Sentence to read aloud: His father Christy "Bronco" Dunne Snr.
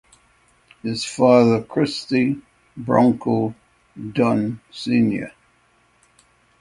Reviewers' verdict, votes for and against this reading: accepted, 3, 0